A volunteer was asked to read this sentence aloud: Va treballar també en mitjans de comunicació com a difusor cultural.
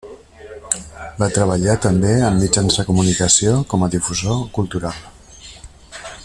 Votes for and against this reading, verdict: 1, 2, rejected